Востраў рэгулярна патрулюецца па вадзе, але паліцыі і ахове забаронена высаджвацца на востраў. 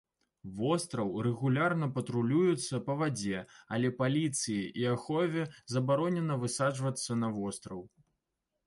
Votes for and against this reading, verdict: 2, 0, accepted